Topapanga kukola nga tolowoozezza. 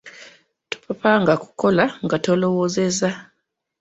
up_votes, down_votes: 2, 0